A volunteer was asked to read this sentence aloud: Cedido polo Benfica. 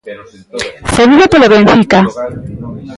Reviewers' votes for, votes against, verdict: 0, 2, rejected